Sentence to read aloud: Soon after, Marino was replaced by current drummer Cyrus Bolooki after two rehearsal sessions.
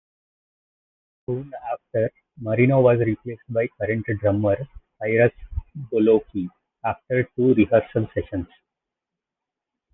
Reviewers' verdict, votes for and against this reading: rejected, 1, 2